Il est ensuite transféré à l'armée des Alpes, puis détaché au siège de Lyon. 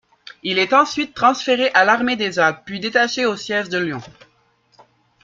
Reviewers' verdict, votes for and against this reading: accepted, 2, 0